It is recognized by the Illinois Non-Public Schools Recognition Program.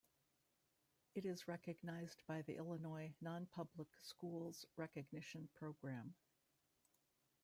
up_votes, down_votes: 0, 2